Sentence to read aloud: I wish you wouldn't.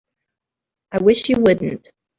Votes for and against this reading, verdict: 2, 0, accepted